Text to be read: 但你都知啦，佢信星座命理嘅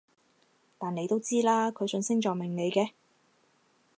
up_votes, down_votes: 4, 0